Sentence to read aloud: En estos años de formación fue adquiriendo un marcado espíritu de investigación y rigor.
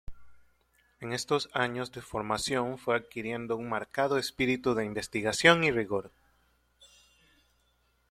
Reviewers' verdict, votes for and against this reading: accepted, 2, 0